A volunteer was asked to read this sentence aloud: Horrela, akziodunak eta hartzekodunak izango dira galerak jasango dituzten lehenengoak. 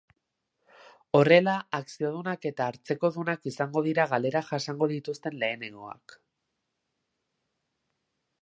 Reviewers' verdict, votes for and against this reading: accepted, 2, 1